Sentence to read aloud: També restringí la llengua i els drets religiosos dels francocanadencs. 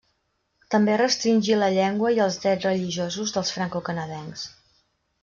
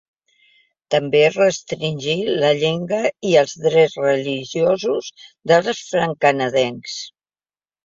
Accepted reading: first